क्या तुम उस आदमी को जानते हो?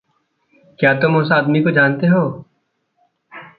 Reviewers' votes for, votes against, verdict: 2, 0, accepted